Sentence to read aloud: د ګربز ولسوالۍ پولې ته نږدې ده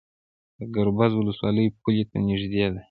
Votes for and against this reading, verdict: 1, 2, rejected